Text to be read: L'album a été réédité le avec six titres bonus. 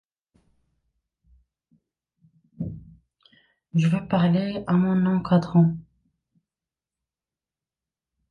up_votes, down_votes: 0, 2